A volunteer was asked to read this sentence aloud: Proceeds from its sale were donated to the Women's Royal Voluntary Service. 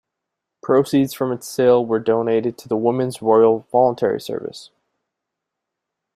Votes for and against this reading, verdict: 2, 0, accepted